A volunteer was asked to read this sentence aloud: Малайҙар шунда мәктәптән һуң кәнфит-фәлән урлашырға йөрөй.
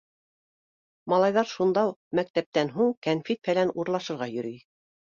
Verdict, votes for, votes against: rejected, 0, 2